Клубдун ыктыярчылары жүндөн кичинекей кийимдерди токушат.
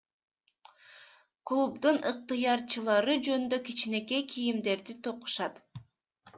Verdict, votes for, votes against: accepted, 2, 1